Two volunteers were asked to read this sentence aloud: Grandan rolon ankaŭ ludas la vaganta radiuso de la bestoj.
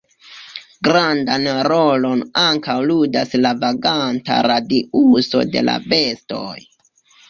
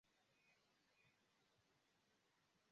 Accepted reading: first